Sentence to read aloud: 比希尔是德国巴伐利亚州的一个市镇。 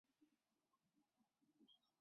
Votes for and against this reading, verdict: 1, 4, rejected